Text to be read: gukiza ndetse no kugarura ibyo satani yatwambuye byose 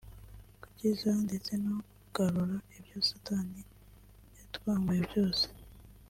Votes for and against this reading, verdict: 2, 0, accepted